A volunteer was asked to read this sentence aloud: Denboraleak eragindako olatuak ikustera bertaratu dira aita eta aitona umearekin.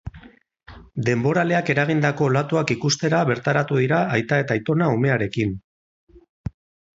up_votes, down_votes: 8, 0